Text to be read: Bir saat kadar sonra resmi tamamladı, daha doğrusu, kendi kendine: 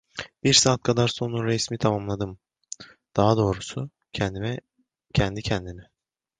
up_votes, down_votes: 0, 2